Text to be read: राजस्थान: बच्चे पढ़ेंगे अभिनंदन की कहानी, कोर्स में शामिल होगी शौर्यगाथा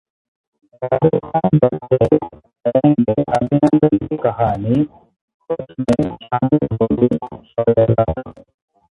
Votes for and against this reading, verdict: 0, 4, rejected